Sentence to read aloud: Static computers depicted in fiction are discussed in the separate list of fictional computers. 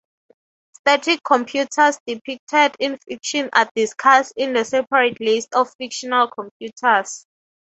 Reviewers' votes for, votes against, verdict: 0, 3, rejected